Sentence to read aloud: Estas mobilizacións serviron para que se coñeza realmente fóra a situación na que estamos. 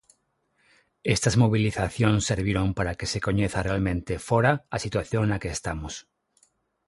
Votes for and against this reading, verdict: 6, 0, accepted